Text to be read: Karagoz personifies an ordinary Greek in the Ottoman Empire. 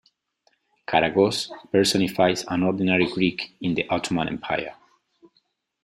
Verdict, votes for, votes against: accepted, 2, 0